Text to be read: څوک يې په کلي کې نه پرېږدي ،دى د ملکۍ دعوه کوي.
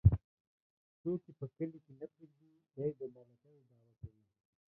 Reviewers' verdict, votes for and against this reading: rejected, 1, 2